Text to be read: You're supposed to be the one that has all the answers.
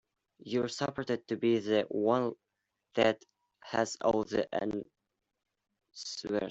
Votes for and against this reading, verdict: 0, 2, rejected